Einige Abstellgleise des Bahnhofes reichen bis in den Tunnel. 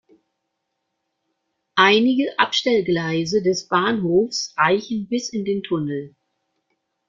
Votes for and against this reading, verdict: 2, 0, accepted